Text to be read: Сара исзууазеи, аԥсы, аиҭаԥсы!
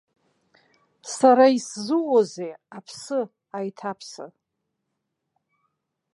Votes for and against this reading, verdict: 0, 2, rejected